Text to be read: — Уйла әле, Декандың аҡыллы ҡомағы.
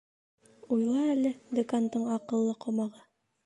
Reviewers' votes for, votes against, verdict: 2, 0, accepted